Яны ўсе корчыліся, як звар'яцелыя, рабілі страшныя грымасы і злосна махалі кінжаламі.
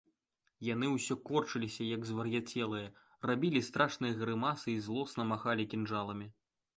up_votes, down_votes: 2, 0